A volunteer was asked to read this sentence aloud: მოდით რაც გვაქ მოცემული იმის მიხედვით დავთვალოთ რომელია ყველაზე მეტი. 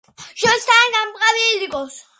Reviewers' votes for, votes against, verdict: 0, 2, rejected